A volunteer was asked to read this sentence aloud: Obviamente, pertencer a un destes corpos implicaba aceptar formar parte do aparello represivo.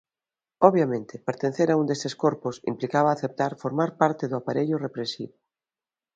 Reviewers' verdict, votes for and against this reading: rejected, 0, 2